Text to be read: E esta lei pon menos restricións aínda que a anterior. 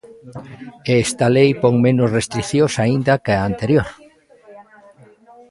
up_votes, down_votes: 0, 2